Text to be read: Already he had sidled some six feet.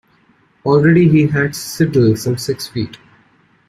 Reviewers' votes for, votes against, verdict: 0, 2, rejected